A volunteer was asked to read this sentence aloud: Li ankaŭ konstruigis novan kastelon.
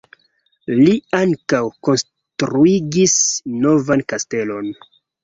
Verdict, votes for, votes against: accepted, 2, 1